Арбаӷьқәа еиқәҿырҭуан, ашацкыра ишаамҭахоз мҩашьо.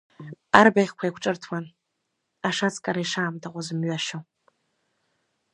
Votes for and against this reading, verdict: 2, 0, accepted